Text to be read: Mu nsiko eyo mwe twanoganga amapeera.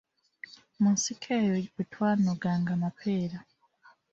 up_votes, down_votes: 1, 2